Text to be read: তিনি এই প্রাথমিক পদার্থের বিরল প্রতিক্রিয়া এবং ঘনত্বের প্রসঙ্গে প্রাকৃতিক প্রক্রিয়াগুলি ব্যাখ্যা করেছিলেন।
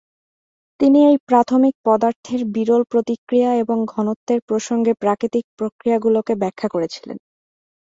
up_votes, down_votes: 2, 1